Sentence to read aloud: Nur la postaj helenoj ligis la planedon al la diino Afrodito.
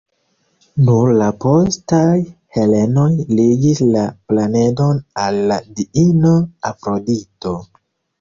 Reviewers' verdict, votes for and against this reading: rejected, 0, 3